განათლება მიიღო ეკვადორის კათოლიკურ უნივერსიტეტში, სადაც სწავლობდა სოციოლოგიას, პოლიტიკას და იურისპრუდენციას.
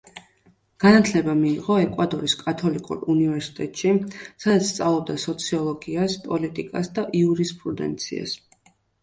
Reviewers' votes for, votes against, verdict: 2, 0, accepted